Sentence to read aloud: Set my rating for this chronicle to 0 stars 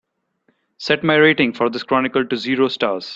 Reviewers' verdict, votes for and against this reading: rejected, 0, 2